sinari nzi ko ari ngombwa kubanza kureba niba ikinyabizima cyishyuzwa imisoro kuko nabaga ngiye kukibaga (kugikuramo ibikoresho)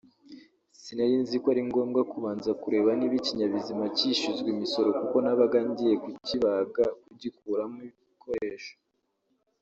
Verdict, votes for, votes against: rejected, 0, 2